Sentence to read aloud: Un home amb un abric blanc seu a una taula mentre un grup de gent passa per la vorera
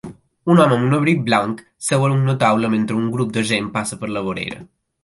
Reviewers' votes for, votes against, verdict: 2, 0, accepted